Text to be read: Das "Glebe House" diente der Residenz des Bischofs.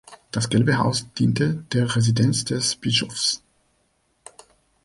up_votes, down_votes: 1, 3